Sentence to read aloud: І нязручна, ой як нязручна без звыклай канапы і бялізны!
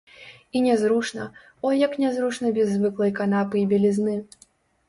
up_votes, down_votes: 1, 3